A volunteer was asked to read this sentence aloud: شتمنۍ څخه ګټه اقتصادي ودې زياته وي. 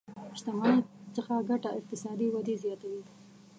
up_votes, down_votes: 1, 2